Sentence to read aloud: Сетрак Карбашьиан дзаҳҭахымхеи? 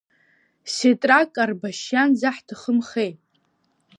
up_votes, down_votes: 2, 1